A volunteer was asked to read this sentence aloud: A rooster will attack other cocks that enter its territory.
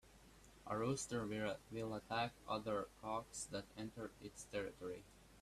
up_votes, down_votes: 0, 2